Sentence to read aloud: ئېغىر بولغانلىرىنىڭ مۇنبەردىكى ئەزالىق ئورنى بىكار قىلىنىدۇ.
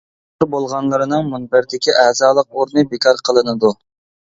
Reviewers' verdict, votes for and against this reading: rejected, 0, 2